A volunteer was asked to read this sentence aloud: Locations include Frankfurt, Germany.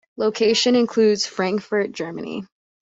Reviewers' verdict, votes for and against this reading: rejected, 1, 2